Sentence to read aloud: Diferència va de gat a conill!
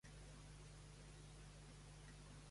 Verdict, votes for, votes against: rejected, 0, 2